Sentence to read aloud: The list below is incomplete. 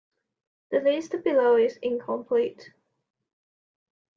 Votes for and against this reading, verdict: 2, 0, accepted